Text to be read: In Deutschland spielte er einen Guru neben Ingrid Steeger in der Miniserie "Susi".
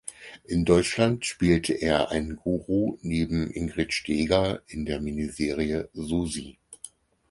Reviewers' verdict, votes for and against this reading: accepted, 4, 0